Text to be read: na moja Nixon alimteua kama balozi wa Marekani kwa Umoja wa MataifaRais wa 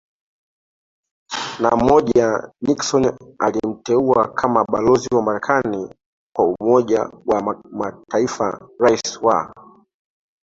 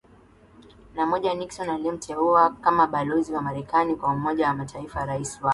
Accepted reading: second